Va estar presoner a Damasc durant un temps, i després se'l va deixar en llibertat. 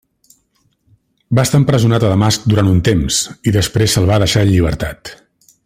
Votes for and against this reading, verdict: 1, 2, rejected